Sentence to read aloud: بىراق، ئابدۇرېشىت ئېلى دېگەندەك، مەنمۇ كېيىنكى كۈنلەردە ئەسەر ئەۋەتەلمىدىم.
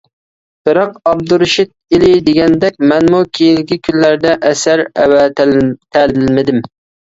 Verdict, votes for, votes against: rejected, 1, 2